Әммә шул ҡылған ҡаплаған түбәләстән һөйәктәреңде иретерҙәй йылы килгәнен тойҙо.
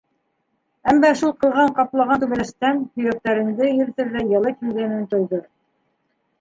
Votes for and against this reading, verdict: 3, 1, accepted